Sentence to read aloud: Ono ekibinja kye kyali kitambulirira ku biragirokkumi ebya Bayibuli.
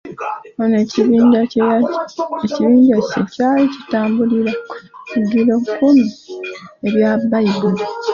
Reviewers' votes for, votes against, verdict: 2, 1, accepted